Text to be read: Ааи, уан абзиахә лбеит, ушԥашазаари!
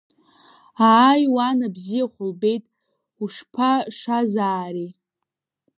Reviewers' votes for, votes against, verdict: 2, 0, accepted